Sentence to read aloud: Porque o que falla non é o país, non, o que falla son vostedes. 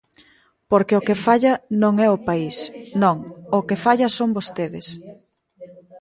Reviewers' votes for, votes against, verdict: 2, 0, accepted